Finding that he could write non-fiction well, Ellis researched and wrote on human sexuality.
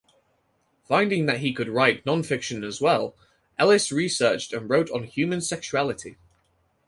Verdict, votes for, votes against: rejected, 2, 4